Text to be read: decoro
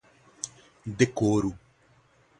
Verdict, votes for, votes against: accepted, 2, 0